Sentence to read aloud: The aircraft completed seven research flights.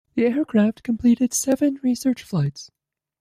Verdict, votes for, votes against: rejected, 1, 2